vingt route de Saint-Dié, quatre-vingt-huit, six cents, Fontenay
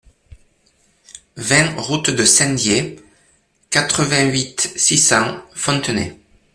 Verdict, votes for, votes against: accepted, 2, 0